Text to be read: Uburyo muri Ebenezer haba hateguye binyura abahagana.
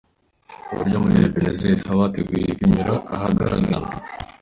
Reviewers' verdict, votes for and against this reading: rejected, 0, 3